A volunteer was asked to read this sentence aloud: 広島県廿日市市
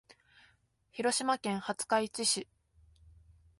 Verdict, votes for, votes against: accepted, 2, 0